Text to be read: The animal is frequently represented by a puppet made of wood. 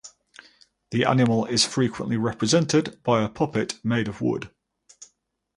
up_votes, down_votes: 0, 2